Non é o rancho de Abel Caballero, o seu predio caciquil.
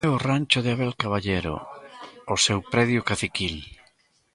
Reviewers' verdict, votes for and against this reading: rejected, 0, 2